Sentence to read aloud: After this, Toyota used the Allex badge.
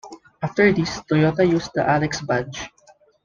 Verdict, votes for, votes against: accepted, 2, 1